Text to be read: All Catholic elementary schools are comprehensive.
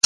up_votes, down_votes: 0, 2